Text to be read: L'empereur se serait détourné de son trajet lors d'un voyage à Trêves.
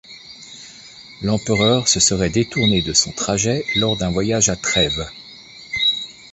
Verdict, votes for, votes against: accepted, 2, 1